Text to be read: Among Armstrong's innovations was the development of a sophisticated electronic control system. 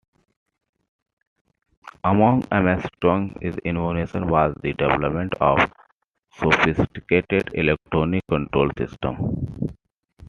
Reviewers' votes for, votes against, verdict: 0, 2, rejected